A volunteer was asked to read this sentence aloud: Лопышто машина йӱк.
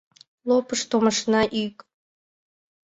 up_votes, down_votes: 2, 1